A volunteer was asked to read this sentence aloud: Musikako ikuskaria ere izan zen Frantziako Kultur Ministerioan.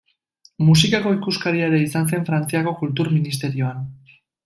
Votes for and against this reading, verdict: 2, 0, accepted